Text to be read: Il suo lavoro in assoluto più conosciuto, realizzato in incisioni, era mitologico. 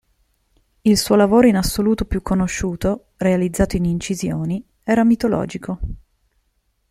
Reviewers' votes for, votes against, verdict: 2, 0, accepted